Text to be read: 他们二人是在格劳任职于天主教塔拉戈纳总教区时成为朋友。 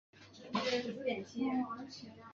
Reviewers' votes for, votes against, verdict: 1, 3, rejected